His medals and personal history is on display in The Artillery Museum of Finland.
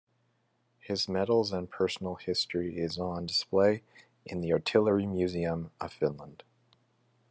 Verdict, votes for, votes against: accepted, 2, 0